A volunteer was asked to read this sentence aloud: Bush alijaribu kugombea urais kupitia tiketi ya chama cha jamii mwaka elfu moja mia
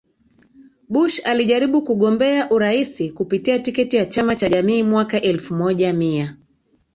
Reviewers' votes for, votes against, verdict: 2, 0, accepted